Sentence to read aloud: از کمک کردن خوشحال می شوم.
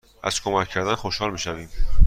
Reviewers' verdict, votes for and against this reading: rejected, 1, 2